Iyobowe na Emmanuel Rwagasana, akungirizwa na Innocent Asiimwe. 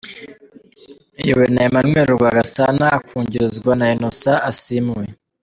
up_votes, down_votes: 2, 1